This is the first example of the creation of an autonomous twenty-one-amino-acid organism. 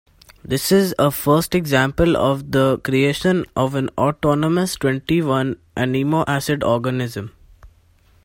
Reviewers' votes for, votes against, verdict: 1, 2, rejected